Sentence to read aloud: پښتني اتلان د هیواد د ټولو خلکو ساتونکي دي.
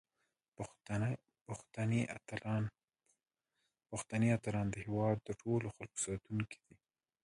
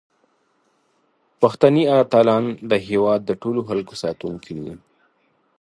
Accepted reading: second